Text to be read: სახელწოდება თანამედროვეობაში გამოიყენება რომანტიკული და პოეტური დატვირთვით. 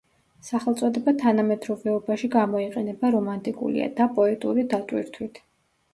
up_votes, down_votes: 0, 2